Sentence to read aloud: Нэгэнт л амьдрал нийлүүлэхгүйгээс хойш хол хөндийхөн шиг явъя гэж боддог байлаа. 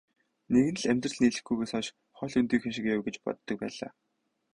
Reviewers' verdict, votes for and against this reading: rejected, 2, 2